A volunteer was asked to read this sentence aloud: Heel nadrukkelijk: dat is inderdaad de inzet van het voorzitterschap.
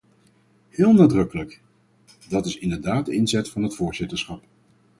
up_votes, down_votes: 2, 2